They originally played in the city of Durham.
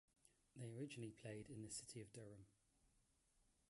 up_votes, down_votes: 2, 0